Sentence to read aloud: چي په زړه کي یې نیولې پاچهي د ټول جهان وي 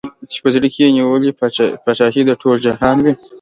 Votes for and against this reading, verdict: 2, 0, accepted